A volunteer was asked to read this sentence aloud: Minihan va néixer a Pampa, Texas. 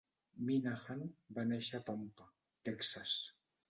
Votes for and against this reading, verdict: 1, 2, rejected